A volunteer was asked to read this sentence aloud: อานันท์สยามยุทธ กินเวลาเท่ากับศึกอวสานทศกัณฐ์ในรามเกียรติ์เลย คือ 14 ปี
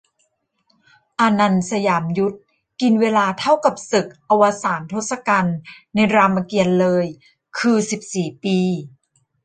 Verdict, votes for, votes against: rejected, 0, 2